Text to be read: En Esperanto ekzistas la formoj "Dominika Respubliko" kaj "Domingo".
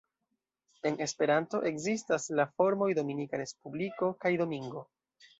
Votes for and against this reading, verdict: 2, 1, accepted